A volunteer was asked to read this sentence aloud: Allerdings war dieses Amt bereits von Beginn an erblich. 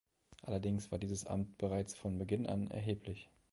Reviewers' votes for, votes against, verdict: 0, 2, rejected